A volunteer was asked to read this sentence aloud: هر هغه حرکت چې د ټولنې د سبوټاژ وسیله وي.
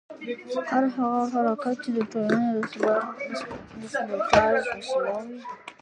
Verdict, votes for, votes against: rejected, 1, 2